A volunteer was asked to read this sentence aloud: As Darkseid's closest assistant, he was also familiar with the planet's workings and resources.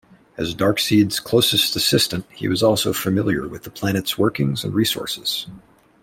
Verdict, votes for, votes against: accepted, 2, 0